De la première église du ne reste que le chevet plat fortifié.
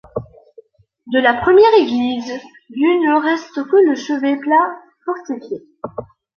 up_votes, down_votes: 2, 0